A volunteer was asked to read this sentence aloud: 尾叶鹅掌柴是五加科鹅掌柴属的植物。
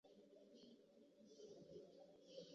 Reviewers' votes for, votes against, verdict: 0, 2, rejected